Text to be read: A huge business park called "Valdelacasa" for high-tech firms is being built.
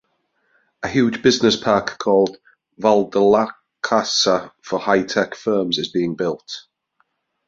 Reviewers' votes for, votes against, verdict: 0, 2, rejected